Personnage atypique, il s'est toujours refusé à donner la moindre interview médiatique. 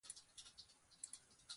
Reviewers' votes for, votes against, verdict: 0, 2, rejected